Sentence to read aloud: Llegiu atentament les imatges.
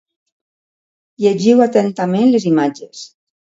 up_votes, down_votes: 2, 0